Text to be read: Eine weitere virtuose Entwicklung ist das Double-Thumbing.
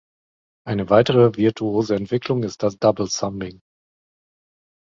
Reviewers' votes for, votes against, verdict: 2, 0, accepted